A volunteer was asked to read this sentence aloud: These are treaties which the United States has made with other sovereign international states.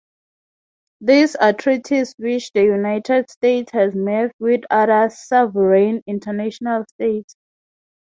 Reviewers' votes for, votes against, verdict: 3, 0, accepted